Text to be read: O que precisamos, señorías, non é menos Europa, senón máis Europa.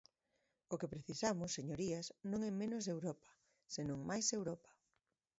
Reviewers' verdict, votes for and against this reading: rejected, 1, 2